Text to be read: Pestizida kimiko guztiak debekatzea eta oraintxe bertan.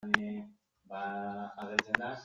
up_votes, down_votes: 0, 2